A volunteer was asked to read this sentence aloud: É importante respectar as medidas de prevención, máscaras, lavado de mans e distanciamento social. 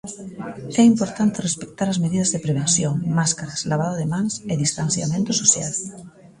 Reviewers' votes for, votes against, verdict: 1, 2, rejected